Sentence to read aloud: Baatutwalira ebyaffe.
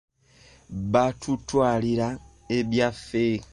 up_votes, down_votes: 2, 1